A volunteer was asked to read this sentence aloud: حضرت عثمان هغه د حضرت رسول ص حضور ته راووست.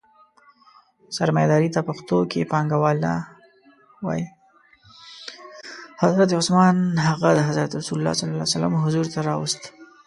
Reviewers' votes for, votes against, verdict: 0, 2, rejected